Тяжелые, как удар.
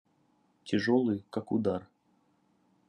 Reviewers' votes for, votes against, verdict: 2, 0, accepted